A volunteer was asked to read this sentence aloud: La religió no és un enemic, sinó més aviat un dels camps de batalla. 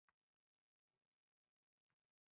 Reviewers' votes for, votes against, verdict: 1, 2, rejected